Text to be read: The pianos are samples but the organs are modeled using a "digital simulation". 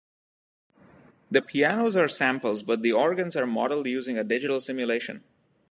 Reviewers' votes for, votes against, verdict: 2, 0, accepted